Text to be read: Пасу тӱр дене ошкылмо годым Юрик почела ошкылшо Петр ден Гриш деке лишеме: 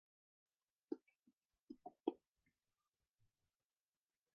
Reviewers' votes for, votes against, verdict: 0, 2, rejected